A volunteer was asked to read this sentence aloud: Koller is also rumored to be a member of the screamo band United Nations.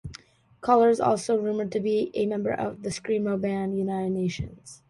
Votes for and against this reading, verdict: 2, 0, accepted